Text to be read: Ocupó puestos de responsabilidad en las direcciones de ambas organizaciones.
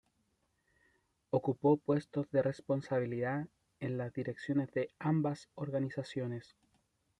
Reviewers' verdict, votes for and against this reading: rejected, 1, 2